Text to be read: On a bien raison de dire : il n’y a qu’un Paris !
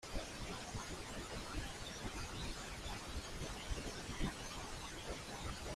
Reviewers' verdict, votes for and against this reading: rejected, 0, 2